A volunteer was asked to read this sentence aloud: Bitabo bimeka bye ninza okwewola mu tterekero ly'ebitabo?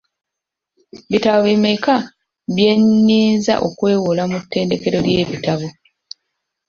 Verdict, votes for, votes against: rejected, 0, 2